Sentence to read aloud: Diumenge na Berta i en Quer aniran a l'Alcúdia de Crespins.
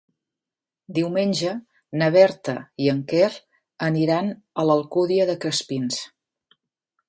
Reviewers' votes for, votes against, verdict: 3, 0, accepted